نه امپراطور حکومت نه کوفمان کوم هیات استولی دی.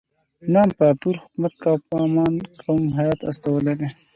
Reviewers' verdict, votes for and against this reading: accepted, 2, 0